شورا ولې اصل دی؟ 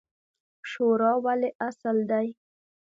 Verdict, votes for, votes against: accepted, 2, 0